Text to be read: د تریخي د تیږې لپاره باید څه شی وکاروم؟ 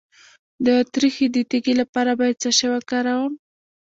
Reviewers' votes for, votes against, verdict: 0, 2, rejected